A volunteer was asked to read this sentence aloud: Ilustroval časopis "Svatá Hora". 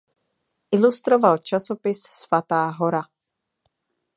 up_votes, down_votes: 2, 0